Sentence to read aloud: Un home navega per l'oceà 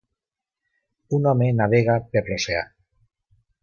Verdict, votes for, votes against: accepted, 2, 0